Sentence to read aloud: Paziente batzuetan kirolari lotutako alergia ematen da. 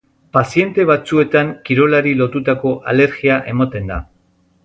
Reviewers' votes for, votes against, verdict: 0, 2, rejected